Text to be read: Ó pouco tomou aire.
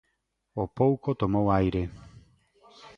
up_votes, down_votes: 2, 0